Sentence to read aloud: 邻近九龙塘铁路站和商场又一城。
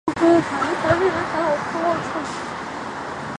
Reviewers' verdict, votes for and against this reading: rejected, 1, 4